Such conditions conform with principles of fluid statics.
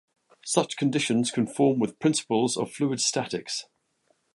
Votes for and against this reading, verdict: 0, 2, rejected